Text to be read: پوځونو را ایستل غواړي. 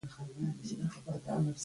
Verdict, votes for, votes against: rejected, 0, 2